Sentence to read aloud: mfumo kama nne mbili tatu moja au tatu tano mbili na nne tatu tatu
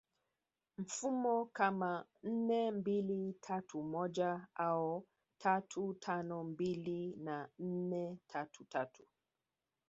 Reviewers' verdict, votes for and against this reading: rejected, 1, 2